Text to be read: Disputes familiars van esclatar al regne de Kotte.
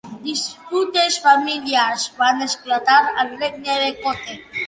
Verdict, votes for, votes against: accepted, 2, 0